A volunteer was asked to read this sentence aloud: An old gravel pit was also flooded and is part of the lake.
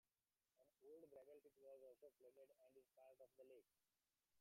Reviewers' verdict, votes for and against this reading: rejected, 0, 3